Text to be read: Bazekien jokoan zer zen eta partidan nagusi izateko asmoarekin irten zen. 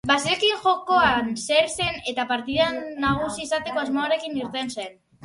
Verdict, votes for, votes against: rejected, 2, 2